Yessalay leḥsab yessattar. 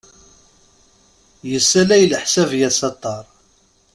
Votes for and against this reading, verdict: 0, 2, rejected